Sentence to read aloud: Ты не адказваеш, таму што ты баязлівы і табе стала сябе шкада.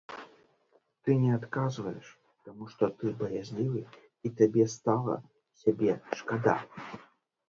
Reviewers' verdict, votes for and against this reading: rejected, 0, 3